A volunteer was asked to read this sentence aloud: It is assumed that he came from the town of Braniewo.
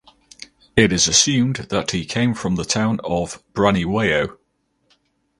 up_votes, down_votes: 4, 0